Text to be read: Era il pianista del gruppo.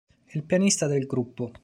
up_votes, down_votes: 0, 2